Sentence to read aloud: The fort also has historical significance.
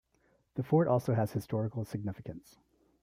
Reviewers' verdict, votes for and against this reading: accepted, 2, 0